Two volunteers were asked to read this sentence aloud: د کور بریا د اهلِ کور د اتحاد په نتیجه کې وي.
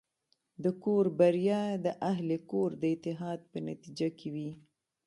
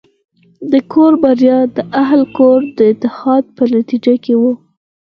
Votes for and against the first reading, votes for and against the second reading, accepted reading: 0, 2, 4, 2, second